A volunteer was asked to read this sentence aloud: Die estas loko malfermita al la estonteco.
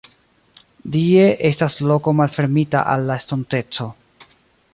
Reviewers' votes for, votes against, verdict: 1, 2, rejected